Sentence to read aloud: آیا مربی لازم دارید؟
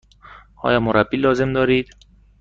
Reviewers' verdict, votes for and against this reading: accepted, 2, 0